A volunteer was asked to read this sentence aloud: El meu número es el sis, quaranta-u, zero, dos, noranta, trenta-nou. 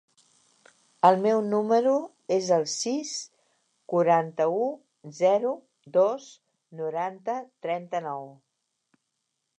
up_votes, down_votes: 2, 0